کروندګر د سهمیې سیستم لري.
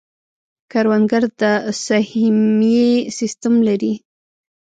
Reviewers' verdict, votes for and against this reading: accepted, 2, 1